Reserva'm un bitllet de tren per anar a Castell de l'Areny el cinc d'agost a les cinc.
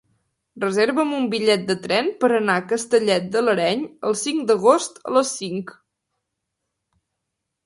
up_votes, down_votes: 0, 3